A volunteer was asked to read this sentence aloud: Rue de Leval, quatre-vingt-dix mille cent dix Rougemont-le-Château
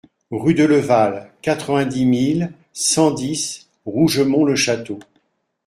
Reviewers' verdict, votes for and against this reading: accepted, 2, 0